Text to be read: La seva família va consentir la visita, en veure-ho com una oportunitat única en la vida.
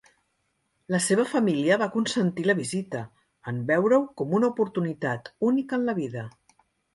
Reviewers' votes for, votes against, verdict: 3, 0, accepted